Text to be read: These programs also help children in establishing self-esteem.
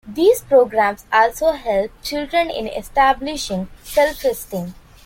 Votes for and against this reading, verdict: 2, 0, accepted